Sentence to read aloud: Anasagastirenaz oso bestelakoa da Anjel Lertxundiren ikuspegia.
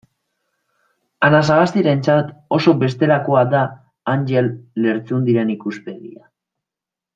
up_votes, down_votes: 1, 2